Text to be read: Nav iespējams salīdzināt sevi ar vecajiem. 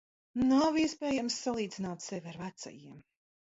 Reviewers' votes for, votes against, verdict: 1, 2, rejected